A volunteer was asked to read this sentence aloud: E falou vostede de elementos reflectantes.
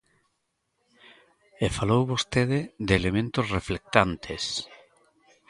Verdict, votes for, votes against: accepted, 2, 0